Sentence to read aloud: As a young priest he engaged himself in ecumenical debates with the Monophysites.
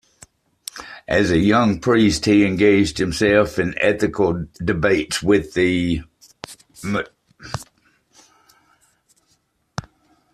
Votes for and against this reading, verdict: 0, 2, rejected